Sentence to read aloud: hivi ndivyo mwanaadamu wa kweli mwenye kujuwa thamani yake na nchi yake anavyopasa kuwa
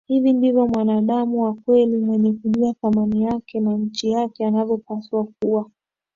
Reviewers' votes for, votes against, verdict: 2, 1, accepted